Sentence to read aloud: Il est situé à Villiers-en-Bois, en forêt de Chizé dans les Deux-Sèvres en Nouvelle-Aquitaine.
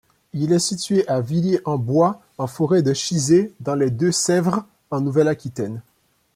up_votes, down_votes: 2, 0